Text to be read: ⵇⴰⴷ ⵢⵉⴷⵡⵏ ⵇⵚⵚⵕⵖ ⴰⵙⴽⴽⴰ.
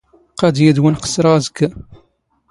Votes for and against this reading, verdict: 2, 0, accepted